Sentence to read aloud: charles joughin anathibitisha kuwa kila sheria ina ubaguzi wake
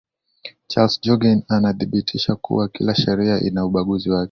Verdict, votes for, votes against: accepted, 2, 0